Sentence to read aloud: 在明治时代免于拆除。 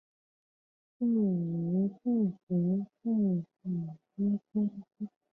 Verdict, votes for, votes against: rejected, 1, 3